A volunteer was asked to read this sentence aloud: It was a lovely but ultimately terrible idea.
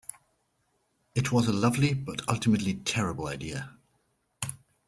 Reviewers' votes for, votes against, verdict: 2, 0, accepted